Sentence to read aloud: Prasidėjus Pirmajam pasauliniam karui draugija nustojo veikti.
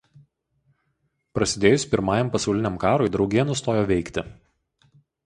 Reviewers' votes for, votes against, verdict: 4, 0, accepted